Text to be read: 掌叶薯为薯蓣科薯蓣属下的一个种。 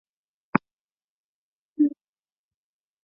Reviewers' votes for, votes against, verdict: 1, 2, rejected